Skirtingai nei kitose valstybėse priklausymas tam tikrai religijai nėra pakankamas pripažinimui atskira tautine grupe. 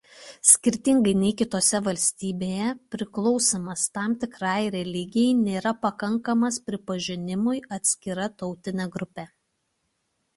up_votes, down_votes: 0, 2